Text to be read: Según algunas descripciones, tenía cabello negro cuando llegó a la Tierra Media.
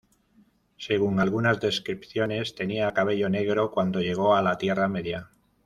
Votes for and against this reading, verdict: 2, 0, accepted